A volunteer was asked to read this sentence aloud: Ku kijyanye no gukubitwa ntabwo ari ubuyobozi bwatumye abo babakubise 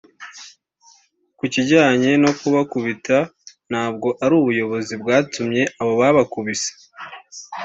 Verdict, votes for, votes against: rejected, 0, 2